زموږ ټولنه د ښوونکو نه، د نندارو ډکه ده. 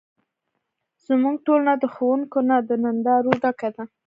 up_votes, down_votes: 0, 2